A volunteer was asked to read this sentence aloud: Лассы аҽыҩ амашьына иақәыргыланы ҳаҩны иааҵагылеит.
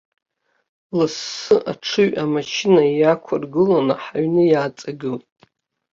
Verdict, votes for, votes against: accepted, 2, 0